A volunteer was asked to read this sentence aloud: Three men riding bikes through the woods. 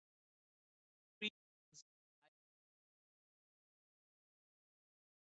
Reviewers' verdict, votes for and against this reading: rejected, 0, 2